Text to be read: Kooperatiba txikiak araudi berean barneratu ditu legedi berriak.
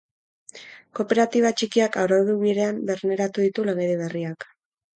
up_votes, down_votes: 2, 4